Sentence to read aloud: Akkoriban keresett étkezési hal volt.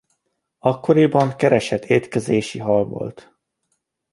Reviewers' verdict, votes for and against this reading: accepted, 2, 0